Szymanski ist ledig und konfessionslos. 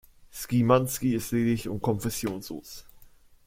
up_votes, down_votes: 1, 2